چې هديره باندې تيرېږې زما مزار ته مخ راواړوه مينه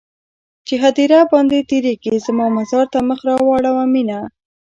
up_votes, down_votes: 0, 2